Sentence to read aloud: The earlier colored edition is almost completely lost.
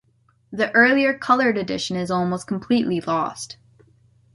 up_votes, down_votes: 2, 0